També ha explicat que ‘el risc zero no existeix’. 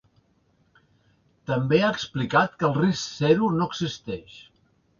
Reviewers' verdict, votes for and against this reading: accepted, 2, 0